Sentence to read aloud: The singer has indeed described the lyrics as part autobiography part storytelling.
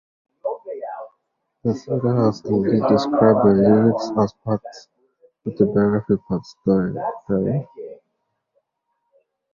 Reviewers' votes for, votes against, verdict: 0, 2, rejected